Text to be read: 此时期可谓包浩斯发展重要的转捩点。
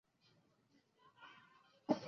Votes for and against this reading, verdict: 2, 0, accepted